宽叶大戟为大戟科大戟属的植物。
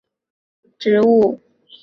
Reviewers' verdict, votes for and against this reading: rejected, 1, 4